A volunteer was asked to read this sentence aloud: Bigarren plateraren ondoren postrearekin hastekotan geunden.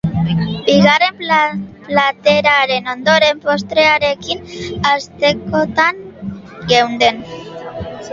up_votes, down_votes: 0, 2